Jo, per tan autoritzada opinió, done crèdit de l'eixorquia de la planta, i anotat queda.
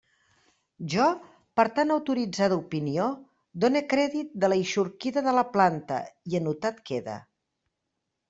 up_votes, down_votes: 1, 2